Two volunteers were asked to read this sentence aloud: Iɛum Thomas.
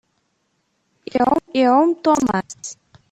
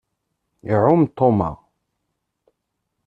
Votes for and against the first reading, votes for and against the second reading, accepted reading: 0, 2, 2, 0, second